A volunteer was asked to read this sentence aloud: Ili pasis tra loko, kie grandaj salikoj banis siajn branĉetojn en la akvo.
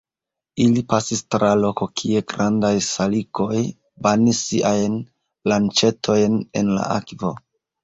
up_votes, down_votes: 1, 2